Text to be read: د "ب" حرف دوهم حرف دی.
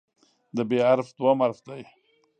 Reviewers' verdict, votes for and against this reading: rejected, 1, 2